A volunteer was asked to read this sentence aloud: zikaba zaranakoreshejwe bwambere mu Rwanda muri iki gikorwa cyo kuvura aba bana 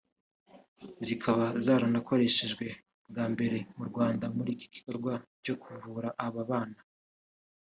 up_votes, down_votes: 1, 2